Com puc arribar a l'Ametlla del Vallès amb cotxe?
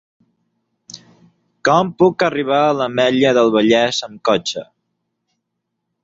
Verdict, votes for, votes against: rejected, 3, 6